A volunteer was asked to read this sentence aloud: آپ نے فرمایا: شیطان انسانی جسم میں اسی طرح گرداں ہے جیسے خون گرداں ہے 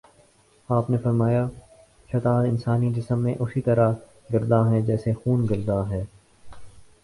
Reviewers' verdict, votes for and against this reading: rejected, 0, 2